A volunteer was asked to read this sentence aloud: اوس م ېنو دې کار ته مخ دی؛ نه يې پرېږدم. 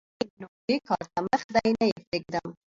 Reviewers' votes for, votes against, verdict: 0, 2, rejected